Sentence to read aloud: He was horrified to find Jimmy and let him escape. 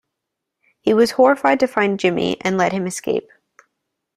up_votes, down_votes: 3, 0